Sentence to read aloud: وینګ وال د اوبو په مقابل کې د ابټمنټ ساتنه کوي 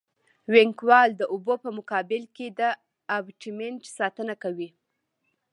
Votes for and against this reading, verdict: 2, 0, accepted